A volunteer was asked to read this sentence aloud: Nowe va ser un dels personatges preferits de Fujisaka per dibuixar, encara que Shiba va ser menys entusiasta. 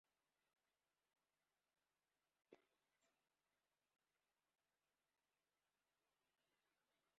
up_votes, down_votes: 1, 2